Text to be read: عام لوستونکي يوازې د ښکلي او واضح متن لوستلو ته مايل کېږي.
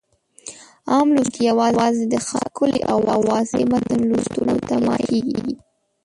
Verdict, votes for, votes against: rejected, 1, 2